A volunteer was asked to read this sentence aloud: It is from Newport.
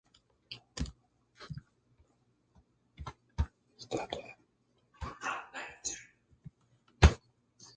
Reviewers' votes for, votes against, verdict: 0, 2, rejected